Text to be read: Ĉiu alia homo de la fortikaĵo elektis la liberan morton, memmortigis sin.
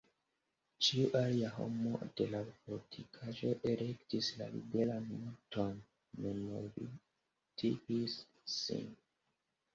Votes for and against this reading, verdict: 2, 0, accepted